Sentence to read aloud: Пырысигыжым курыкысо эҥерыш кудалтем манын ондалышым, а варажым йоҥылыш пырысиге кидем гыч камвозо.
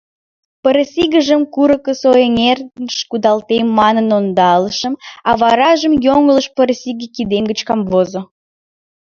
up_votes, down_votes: 1, 3